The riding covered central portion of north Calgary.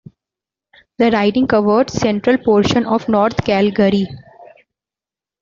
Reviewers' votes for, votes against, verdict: 2, 1, accepted